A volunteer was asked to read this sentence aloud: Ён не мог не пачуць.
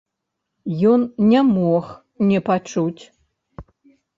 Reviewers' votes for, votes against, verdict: 1, 2, rejected